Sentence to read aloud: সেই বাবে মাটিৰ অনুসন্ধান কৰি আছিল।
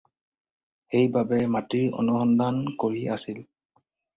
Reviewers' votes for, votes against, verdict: 4, 0, accepted